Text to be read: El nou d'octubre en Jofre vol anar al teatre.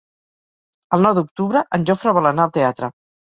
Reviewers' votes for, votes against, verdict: 4, 0, accepted